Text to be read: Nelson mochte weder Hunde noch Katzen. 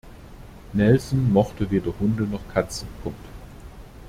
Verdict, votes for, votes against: rejected, 1, 2